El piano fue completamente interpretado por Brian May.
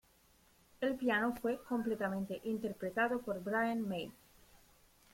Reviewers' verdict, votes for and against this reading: rejected, 1, 2